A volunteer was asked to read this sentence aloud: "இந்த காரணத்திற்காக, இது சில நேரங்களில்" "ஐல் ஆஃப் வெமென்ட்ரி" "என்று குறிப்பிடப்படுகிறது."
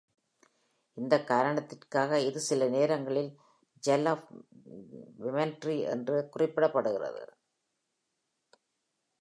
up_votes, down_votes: 1, 2